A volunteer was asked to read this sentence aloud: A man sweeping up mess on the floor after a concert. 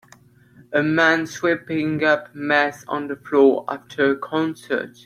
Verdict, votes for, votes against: accepted, 2, 0